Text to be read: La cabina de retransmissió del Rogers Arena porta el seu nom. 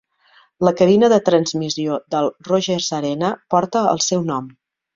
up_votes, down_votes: 0, 2